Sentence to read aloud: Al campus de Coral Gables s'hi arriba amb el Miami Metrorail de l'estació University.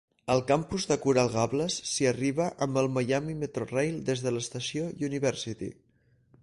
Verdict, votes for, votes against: rejected, 2, 4